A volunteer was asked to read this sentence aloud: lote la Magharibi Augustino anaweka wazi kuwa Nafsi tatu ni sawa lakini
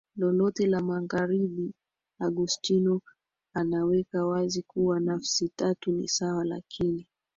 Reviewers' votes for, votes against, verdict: 1, 3, rejected